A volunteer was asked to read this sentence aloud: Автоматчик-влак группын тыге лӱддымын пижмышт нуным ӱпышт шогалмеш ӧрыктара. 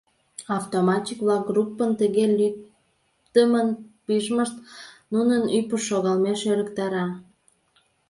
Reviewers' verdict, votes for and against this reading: rejected, 1, 2